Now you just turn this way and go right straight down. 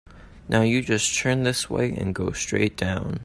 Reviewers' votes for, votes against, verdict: 0, 2, rejected